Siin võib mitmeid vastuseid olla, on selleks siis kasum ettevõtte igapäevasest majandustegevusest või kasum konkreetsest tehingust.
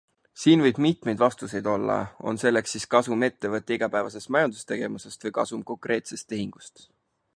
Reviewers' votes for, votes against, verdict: 4, 0, accepted